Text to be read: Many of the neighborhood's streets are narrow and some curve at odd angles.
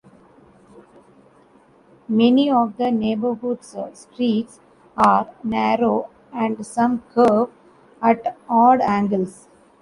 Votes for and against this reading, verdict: 2, 0, accepted